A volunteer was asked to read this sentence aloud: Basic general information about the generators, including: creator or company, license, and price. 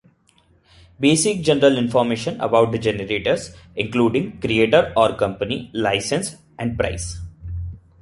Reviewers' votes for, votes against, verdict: 0, 2, rejected